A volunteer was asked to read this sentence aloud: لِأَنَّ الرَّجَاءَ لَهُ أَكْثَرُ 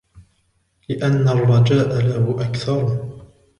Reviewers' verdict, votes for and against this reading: accepted, 2, 1